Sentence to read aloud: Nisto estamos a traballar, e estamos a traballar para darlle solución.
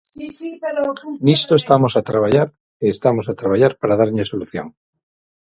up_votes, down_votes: 0, 6